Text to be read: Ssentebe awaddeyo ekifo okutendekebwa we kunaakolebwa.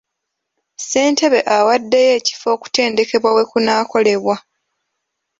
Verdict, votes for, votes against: accepted, 3, 0